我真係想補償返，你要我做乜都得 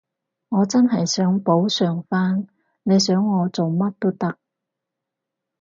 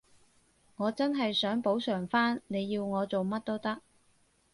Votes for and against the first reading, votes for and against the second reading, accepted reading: 0, 4, 4, 0, second